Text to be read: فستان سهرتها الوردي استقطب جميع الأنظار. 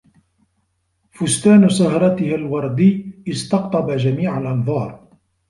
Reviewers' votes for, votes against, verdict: 2, 0, accepted